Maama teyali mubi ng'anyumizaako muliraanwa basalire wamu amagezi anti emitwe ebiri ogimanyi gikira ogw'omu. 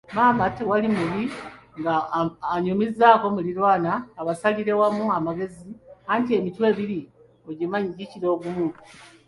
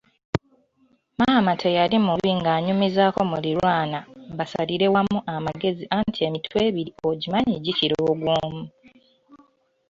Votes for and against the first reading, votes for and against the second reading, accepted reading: 0, 2, 2, 0, second